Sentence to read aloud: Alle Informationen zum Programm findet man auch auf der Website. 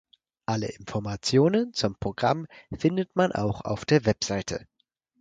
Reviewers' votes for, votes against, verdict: 0, 4, rejected